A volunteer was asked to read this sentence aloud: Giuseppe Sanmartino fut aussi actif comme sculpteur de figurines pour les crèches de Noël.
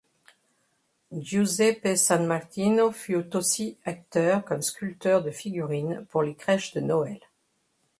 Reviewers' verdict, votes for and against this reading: rejected, 1, 2